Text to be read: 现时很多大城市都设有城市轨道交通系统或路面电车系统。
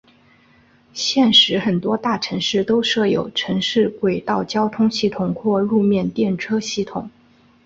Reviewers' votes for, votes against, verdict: 4, 0, accepted